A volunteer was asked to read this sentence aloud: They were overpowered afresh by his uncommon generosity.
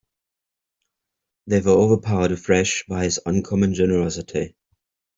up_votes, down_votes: 2, 0